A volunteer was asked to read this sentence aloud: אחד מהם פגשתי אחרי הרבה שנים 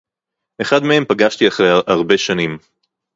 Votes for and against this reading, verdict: 2, 2, rejected